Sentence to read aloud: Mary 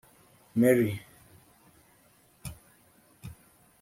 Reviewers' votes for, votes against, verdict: 1, 2, rejected